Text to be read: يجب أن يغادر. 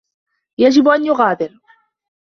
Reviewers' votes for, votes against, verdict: 1, 2, rejected